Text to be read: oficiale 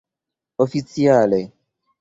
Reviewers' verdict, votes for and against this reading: rejected, 0, 2